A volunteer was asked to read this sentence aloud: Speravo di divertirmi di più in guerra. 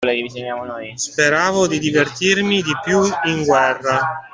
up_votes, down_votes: 1, 2